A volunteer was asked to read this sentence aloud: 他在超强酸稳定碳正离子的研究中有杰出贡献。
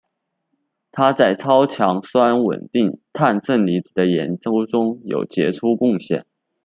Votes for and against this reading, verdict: 2, 0, accepted